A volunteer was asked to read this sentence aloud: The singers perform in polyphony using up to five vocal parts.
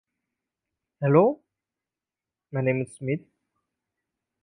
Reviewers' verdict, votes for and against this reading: rejected, 0, 2